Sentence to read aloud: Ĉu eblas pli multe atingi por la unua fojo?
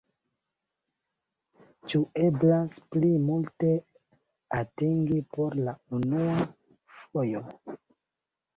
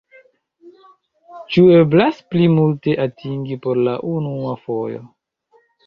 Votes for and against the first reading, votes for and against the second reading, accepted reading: 2, 0, 1, 2, first